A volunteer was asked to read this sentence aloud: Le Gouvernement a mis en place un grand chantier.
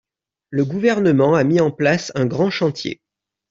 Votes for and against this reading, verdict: 2, 0, accepted